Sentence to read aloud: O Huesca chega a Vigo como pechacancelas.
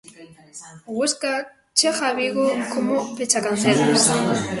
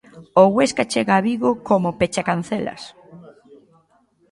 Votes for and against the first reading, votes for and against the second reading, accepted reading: 0, 2, 2, 0, second